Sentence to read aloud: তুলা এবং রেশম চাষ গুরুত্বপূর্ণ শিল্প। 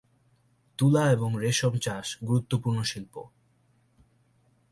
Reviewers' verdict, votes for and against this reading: rejected, 0, 2